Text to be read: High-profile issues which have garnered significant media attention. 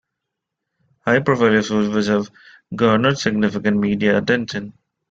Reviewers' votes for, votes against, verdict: 2, 1, accepted